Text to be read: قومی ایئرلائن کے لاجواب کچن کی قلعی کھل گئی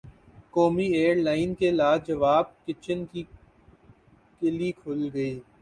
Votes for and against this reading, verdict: 8, 3, accepted